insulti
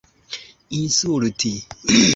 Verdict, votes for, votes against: accepted, 2, 0